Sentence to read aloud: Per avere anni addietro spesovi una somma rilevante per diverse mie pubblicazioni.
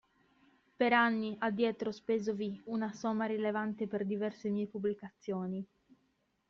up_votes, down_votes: 1, 2